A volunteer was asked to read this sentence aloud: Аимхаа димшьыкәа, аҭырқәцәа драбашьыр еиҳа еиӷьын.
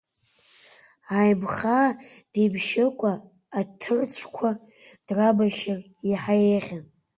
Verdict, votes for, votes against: rejected, 0, 2